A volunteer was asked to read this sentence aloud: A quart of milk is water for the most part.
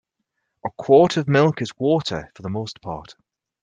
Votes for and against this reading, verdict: 4, 0, accepted